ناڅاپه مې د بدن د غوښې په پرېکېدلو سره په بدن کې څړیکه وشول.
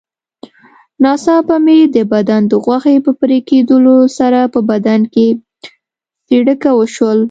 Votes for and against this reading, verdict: 2, 0, accepted